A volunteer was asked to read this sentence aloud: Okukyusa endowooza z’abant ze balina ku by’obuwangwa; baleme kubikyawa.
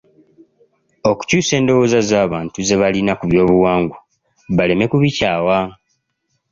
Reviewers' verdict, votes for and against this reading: accepted, 2, 0